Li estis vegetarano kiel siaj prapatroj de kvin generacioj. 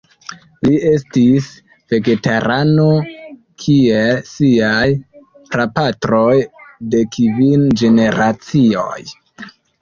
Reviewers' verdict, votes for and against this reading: rejected, 0, 2